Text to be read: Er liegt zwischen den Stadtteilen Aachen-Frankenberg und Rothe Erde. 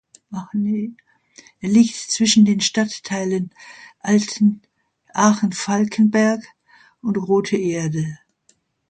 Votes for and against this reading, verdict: 0, 2, rejected